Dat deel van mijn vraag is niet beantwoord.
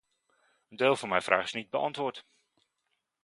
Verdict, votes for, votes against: rejected, 0, 2